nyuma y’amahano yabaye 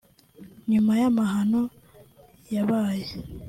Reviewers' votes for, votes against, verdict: 2, 0, accepted